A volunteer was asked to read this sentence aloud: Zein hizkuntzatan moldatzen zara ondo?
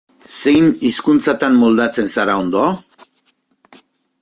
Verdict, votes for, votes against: accepted, 2, 0